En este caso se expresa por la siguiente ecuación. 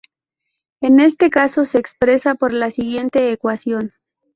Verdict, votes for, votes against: rejected, 2, 2